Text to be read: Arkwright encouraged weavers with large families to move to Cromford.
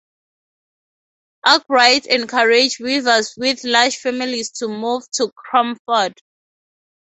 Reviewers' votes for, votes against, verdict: 2, 0, accepted